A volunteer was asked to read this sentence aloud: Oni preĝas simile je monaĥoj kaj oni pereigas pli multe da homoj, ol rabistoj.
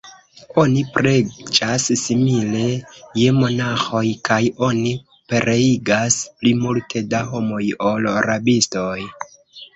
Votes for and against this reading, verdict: 0, 2, rejected